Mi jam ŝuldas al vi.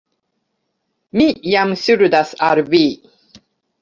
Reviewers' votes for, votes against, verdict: 3, 0, accepted